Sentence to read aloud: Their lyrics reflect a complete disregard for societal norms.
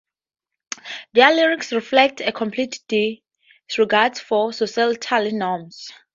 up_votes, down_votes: 2, 0